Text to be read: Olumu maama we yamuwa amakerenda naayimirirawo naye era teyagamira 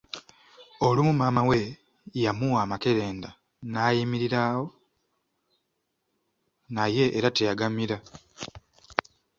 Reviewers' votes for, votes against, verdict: 2, 1, accepted